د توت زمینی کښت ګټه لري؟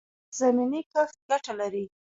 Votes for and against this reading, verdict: 2, 1, accepted